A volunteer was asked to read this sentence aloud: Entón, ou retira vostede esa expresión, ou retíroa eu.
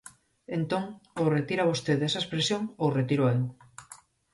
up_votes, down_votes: 4, 0